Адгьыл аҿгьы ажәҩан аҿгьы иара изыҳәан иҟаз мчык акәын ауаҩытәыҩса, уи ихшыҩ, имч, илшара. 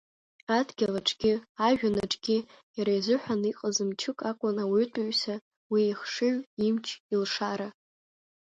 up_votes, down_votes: 2, 0